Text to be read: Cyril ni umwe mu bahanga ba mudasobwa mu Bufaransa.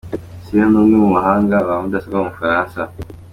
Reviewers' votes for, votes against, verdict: 1, 2, rejected